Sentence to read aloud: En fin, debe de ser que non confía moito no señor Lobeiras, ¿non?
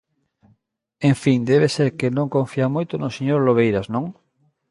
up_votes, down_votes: 2, 0